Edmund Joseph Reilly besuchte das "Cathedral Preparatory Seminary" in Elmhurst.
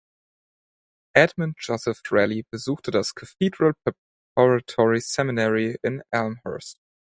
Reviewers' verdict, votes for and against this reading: rejected, 0, 4